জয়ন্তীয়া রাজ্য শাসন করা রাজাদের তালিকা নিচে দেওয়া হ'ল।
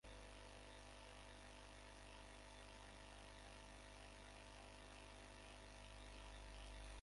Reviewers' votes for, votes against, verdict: 0, 6, rejected